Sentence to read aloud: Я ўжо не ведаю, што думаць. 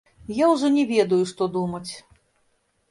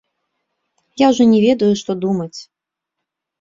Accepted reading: second